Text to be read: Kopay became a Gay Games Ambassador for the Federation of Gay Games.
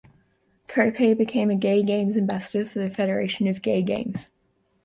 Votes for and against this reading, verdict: 2, 0, accepted